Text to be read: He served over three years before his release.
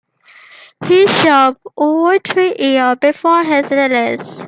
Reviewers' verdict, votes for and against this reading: accepted, 2, 1